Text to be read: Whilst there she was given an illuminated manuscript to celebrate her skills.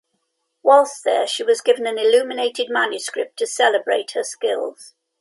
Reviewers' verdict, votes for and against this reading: accepted, 2, 0